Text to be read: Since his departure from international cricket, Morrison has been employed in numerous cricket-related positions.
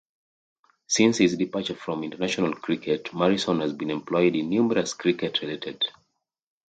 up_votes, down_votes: 2, 1